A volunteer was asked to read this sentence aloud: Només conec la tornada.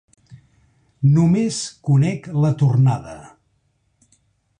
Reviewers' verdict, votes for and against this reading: accepted, 4, 0